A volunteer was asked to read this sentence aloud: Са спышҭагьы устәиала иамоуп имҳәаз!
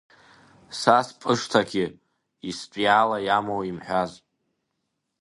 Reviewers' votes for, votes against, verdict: 2, 0, accepted